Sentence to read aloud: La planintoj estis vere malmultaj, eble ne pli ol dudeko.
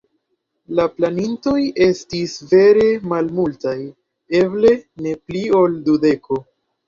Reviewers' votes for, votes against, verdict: 2, 0, accepted